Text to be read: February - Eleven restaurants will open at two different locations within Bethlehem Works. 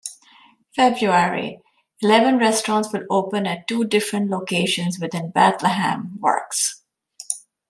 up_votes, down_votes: 2, 0